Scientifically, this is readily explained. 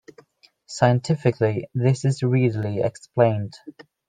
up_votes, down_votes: 2, 3